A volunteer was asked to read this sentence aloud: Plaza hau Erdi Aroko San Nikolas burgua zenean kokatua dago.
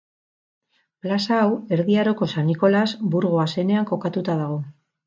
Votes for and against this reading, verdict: 4, 4, rejected